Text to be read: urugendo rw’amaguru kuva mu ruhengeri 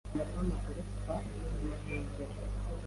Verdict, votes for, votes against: rejected, 1, 2